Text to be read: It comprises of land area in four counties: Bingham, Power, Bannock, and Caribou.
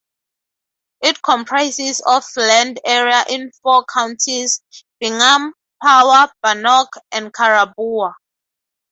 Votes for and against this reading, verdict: 2, 0, accepted